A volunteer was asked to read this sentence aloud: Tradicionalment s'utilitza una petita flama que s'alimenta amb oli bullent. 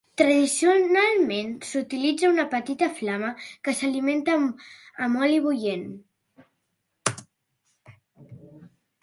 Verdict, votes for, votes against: rejected, 0, 2